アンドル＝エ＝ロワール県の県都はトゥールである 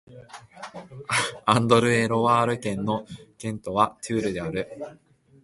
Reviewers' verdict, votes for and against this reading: accepted, 4, 0